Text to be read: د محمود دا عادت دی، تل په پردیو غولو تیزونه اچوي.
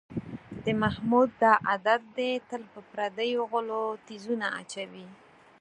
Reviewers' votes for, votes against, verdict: 2, 4, rejected